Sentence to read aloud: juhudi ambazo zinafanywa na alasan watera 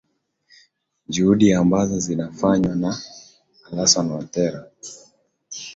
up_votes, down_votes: 26, 0